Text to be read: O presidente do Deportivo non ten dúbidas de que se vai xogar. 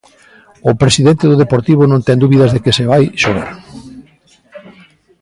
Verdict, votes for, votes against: accepted, 2, 0